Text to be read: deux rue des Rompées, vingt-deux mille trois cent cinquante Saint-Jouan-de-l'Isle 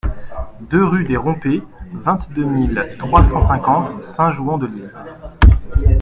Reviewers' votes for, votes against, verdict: 2, 0, accepted